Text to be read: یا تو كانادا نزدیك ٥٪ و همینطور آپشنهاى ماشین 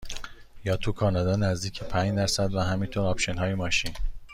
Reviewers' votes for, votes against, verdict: 0, 2, rejected